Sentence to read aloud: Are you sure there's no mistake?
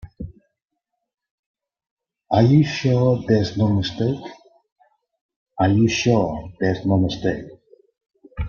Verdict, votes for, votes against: rejected, 0, 2